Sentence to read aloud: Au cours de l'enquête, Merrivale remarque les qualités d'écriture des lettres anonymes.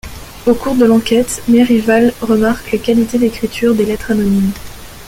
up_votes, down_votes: 0, 2